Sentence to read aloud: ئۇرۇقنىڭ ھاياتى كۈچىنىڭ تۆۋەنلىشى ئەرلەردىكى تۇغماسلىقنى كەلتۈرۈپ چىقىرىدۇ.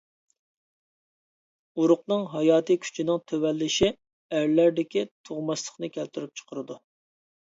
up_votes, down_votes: 2, 0